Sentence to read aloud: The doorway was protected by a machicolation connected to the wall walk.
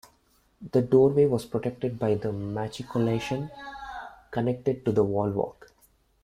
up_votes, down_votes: 1, 2